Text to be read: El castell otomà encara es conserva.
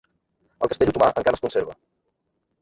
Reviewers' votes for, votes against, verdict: 0, 2, rejected